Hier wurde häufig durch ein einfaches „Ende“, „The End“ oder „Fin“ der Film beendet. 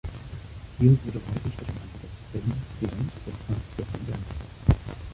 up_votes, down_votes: 0, 2